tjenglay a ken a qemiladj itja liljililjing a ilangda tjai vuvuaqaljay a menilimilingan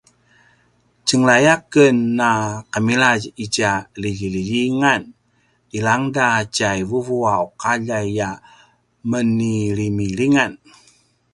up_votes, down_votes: 0, 2